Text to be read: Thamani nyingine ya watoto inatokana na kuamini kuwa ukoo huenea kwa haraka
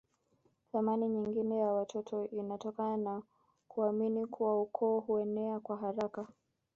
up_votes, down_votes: 3, 0